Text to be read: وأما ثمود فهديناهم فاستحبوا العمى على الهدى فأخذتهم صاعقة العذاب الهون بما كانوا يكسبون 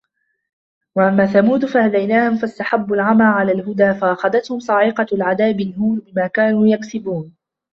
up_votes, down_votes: 2, 0